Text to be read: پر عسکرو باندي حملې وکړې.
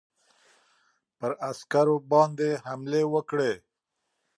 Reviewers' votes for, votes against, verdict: 3, 0, accepted